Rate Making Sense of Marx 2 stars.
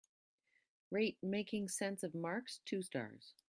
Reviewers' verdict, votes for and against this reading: rejected, 0, 2